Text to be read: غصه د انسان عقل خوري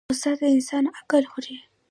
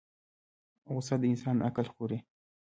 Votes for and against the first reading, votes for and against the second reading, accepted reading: 2, 1, 0, 2, first